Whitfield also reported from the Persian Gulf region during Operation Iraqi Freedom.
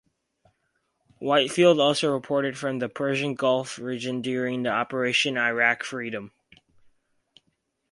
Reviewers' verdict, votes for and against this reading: rejected, 2, 2